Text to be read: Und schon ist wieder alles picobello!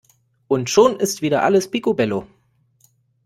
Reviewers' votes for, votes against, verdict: 2, 0, accepted